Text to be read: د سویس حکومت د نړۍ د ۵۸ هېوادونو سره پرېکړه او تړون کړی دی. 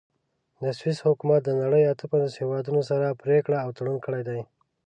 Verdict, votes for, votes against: rejected, 0, 2